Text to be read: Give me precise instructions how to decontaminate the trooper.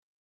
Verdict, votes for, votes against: rejected, 0, 2